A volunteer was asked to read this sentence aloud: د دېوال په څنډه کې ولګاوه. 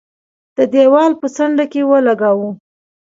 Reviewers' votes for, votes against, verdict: 2, 0, accepted